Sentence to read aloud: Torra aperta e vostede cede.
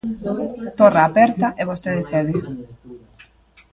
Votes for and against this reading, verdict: 1, 2, rejected